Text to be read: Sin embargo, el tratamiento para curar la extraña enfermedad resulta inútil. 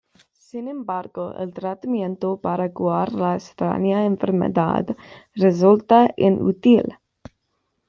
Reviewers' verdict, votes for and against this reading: rejected, 1, 2